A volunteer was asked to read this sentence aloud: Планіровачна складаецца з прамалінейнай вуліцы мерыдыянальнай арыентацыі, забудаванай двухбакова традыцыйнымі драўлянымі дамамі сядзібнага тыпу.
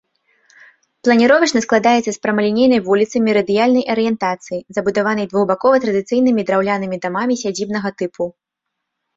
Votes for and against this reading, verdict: 2, 0, accepted